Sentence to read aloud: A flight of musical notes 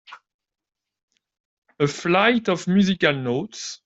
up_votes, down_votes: 2, 1